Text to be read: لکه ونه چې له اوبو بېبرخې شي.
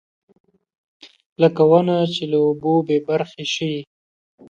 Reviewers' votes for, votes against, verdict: 2, 0, accepted